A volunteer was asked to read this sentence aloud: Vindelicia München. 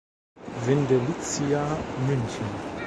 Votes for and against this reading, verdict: 1, 2, rejected